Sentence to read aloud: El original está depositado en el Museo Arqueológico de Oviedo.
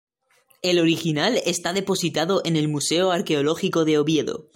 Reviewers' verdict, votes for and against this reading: accepted, 2, 0